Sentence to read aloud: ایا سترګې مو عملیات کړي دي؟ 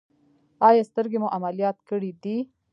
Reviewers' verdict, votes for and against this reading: rejected, 1, 2